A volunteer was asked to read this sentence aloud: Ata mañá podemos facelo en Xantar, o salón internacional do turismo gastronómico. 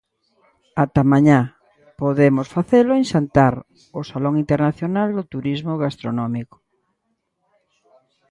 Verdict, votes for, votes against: accepted, 2, 0